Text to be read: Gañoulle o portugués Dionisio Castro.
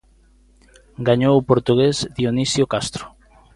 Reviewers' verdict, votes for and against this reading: rejected, 0, 2